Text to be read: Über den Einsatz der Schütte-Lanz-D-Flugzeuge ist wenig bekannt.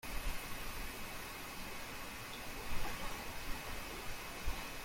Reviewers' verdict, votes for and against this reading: rejected, 0, 2